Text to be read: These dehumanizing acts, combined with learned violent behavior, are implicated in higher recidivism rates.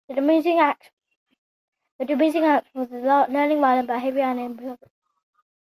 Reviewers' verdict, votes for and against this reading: rejected, 0, 2